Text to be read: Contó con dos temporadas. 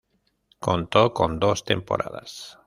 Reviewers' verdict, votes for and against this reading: accepted, 2, 0